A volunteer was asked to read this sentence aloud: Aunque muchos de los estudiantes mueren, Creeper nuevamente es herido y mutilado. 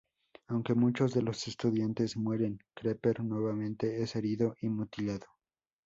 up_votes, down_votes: 2, 0